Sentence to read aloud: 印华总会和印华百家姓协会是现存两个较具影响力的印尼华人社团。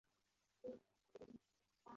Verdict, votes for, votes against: rejected, 1, 2